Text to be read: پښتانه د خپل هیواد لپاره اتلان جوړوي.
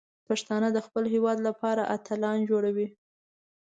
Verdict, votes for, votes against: accepted, 2, 0